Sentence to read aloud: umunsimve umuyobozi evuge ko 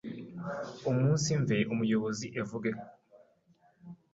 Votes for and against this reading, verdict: 1, 2, rejected